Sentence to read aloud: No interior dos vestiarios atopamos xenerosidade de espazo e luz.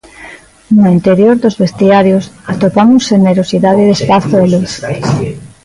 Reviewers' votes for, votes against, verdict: 1, 2, rejected